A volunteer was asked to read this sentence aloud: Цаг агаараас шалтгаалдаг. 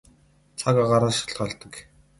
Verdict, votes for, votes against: rejected, 0, 2